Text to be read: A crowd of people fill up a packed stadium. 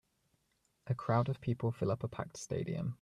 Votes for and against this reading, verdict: 2, 1, accepted